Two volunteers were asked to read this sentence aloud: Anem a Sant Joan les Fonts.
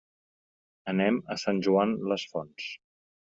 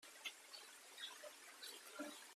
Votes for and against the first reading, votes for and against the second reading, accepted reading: 3, 0, 0, 2, first